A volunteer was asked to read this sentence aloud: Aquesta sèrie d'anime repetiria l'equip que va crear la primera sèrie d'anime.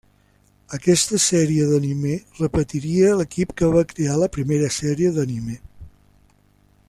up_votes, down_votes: 0, 2